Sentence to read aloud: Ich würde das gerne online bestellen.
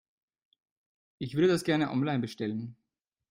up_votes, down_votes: 1, 2